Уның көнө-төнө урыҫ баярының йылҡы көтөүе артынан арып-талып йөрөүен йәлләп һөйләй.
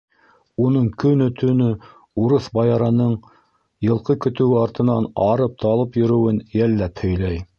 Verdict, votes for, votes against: accepted, 2, 0